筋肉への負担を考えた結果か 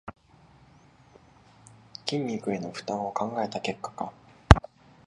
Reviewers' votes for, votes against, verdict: 2, 0, accepted